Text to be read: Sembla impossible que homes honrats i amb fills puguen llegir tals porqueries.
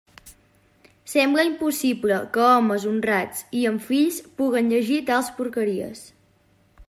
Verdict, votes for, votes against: accepted, 2, 0